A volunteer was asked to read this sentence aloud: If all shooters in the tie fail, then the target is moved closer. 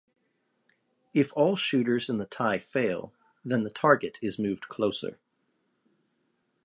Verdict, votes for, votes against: accepted, 2, 0